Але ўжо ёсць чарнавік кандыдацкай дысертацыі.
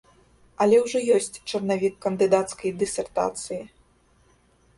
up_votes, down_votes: 2, 0